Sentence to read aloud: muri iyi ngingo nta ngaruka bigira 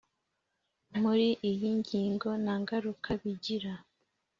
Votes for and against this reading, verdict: 2, 0, accepted